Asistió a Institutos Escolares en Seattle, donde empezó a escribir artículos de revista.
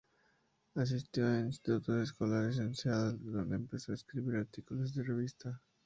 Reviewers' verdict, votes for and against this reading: accepted, 2, 0